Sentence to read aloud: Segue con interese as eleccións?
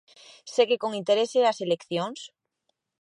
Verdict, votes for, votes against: accepted, 2, 0